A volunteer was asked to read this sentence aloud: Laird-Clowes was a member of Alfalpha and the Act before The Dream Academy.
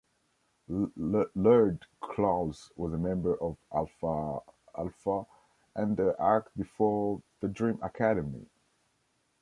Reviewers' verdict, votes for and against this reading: rejected, 0, 2